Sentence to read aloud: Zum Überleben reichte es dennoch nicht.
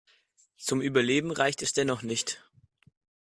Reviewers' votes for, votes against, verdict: 2, 1, accepted